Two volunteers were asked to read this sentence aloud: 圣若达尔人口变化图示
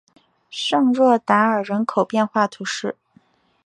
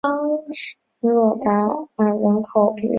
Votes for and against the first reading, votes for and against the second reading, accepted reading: 2, 0, 0, 2, first